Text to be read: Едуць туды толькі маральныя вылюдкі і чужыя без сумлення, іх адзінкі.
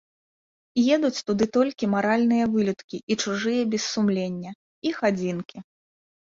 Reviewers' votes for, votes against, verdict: 2, 0, accepted